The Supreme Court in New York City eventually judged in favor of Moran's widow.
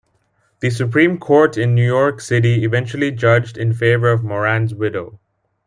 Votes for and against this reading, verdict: 2, 0, accepted